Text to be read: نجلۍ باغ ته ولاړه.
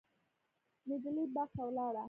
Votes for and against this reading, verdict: 1, 2, rejected